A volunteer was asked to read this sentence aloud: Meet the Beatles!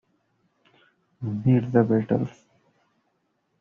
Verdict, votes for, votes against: accepted, 2, 0